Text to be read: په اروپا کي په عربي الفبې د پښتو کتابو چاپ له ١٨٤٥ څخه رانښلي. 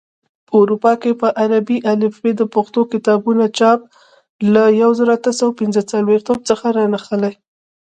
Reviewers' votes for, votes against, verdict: 0, 2, rejected